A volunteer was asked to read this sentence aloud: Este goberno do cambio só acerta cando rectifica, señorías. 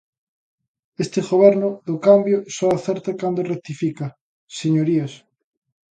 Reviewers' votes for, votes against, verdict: 2, 0, accepted